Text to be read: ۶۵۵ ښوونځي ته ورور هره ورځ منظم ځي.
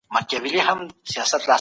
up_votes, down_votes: 0, 2